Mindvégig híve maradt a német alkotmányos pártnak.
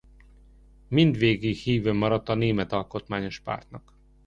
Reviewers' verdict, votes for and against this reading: accepted, 2, 0